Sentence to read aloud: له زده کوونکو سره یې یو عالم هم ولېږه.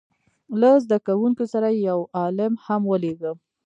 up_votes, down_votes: 0, 2